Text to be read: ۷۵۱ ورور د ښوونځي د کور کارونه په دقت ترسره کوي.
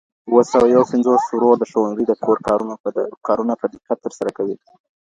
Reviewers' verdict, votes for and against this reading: rejected, 0, 2